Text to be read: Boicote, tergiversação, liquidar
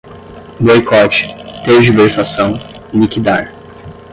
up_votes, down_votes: 5, 5